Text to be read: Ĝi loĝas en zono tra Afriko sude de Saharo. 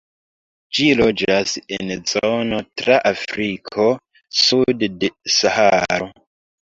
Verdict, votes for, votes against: accepted, 2, 1